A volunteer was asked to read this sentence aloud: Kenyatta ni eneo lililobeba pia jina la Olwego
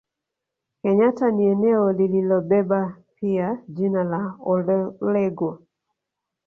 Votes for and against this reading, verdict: 1, 2, rejected